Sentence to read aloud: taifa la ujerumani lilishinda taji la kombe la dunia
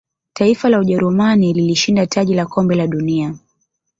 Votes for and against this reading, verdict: 2, 0, accepted